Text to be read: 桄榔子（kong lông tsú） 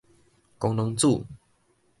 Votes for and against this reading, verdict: 2, 0, accepted